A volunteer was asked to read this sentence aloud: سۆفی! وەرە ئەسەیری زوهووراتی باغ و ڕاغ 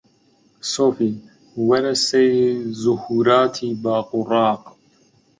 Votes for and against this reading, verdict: 0, 2, rejected